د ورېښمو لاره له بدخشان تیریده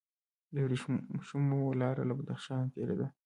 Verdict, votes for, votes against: accepted, 2, 1